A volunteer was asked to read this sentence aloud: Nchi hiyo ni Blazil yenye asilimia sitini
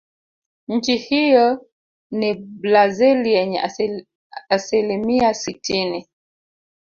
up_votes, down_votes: 0, 2